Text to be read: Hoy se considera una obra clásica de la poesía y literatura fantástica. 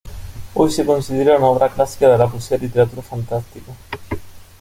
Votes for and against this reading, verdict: 2, 0, accepted